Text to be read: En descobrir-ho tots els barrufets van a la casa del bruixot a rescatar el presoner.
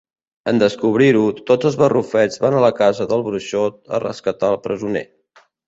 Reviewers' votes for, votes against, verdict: 2, 0, accepted